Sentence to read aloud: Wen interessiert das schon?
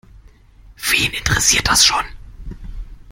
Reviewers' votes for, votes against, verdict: 2, 0, accepted